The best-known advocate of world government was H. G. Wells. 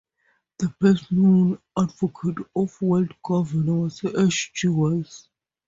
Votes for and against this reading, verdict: 0, 2, rejected